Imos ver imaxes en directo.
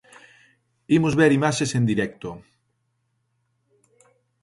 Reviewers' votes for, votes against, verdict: 2, 0, accepted